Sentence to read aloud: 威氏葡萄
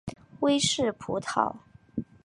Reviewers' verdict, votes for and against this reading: accepted, 2, 0